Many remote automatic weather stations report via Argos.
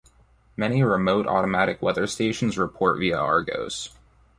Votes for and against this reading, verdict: 2, 0, accepted